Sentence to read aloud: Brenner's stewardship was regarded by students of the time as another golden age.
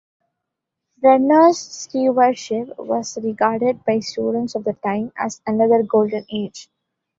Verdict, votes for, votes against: accepted, 2, 0